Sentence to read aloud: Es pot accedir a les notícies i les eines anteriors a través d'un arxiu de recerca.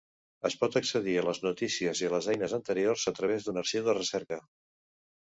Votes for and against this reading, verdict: 2, 0, accepted